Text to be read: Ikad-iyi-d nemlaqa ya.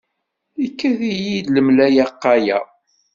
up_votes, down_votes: 1, 2